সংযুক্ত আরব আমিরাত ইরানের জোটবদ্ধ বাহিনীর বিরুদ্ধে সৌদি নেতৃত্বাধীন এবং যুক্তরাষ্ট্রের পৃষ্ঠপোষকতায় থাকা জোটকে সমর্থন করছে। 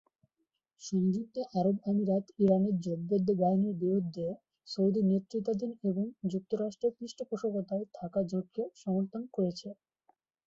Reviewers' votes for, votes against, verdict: 15, 9, accepted